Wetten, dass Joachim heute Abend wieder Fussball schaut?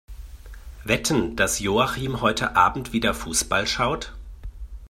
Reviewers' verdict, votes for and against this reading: accepted, 2, 0